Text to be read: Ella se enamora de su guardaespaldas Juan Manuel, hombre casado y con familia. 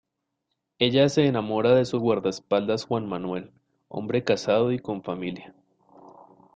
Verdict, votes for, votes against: accepted, 2, 0